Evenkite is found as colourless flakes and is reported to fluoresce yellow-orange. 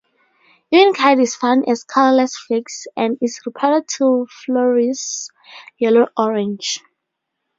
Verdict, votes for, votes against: rejected, 2, 2